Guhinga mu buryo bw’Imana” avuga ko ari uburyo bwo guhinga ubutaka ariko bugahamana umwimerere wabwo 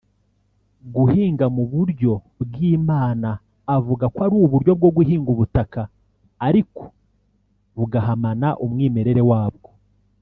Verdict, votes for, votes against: accepted, 2, 0